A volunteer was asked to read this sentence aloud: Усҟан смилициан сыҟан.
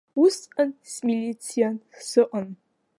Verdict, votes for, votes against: accepted, 2, 0